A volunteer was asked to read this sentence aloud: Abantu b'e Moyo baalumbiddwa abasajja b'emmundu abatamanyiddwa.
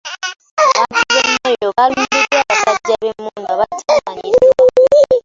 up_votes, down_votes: 0, 2